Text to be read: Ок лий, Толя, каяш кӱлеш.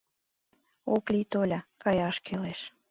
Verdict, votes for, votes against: accepted, 2, 0